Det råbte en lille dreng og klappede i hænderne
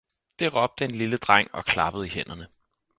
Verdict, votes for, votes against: accepted, 4, 0